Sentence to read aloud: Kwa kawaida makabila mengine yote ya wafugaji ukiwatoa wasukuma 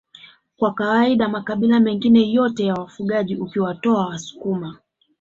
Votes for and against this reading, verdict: 0, 2, rejected